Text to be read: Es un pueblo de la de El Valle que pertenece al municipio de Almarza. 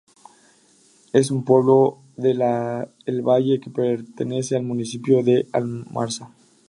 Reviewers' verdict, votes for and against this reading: rejected, 0, 2